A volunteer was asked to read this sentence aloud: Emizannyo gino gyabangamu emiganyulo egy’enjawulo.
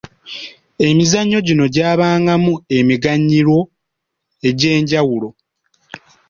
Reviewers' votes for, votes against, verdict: 2, 0, accepted